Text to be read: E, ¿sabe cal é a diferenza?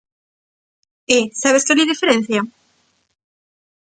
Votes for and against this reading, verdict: 0, 2, rejected